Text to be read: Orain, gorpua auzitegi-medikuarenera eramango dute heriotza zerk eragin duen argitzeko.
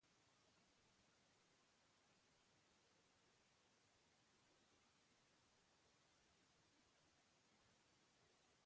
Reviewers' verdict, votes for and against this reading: rejected, 0, 3